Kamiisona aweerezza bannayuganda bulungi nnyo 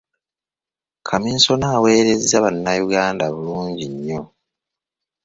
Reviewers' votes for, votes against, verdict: 2, 0, accepted